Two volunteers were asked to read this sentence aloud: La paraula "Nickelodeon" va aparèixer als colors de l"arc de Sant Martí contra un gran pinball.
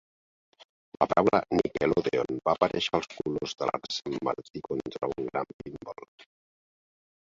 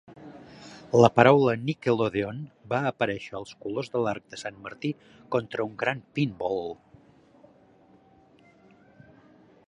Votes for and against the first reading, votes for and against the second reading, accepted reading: 0, 2, 2, 0, second